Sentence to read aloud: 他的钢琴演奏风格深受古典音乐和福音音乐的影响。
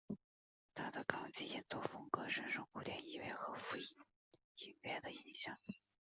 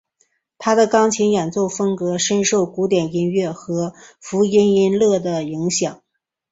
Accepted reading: second